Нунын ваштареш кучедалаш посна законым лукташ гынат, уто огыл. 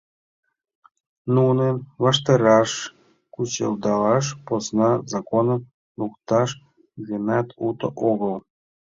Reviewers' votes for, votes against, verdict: 0, 2, rejected